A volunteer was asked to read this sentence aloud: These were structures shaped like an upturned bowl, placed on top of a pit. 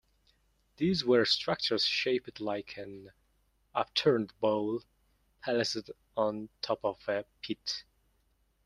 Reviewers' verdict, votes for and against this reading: rejected, 0, 2